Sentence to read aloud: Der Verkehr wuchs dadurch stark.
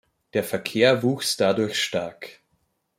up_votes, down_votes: 1, 2